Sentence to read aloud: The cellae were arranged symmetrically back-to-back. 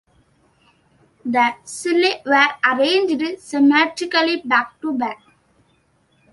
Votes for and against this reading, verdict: 2, 1, accepted